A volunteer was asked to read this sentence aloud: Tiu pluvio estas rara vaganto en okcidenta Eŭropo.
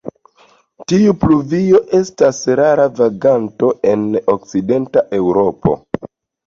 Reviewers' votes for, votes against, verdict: 2, 0, accepted